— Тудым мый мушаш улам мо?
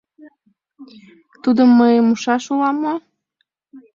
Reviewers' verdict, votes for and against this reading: accepted, 2, 0